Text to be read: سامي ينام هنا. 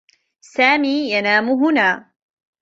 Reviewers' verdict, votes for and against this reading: accepted, 2, 0